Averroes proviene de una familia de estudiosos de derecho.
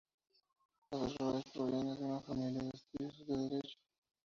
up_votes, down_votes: 0, 2